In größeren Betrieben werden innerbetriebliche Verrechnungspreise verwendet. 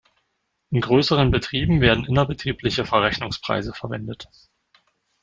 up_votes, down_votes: 2, 0